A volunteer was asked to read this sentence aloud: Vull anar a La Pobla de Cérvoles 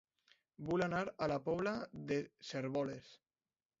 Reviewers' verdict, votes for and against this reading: rejected, 0, 2